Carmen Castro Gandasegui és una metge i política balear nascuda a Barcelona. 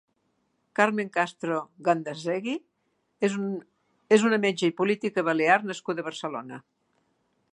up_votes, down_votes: 0, 2